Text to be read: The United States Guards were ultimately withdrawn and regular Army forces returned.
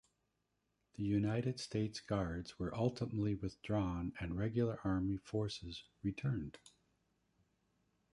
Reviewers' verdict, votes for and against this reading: rejected, 1, 3